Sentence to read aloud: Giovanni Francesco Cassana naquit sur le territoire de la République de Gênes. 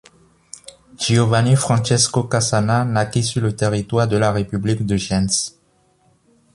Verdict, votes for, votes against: rejected, 1, 2